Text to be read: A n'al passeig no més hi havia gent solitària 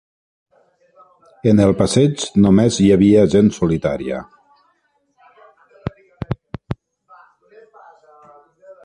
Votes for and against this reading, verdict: 1, 2, rejected